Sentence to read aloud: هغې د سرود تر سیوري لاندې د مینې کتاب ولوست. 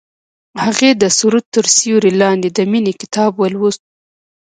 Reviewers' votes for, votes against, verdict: 0, 2, rejected